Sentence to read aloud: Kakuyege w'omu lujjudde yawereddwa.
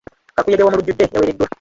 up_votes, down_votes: 0, 2